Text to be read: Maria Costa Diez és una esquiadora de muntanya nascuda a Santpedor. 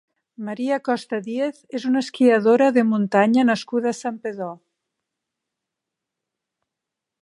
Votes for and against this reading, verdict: 3, 0, accepted